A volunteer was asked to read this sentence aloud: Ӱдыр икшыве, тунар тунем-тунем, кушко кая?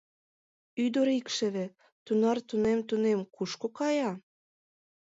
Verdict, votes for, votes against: accepted, 2, 0